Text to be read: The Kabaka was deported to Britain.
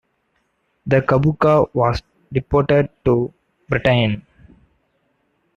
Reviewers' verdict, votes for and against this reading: rejected, 0, 2